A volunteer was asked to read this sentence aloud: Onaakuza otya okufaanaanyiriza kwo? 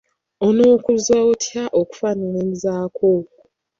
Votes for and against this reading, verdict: 0, 2, rejected